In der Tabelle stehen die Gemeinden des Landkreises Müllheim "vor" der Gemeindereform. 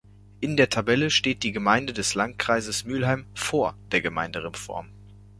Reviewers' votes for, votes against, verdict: 0, 2, rejected